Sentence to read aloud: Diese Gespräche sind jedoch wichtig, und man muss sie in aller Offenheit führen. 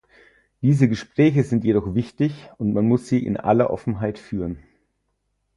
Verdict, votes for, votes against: accepted, 4, 0